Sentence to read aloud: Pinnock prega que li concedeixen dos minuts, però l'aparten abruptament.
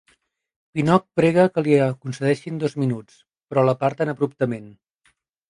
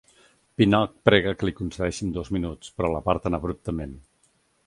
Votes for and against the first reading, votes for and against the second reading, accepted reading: 0, 2, 2, 0, second